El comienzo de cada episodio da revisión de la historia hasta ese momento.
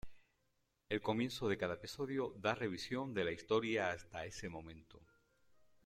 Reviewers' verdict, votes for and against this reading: accepted, 2, 0